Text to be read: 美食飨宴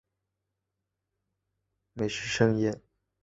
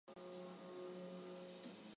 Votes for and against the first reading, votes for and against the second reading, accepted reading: 3, 1, 0, 3, first